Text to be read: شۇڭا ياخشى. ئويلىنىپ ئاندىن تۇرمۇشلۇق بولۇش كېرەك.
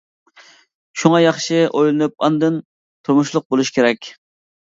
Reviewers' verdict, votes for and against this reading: accepted, 2, 0